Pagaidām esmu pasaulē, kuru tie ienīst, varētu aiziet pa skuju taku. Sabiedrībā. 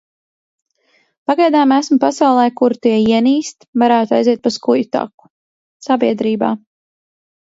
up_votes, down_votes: 2, 0